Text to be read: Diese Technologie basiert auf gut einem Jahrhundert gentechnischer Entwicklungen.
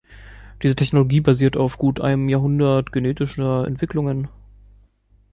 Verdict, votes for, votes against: rejected, 0, 3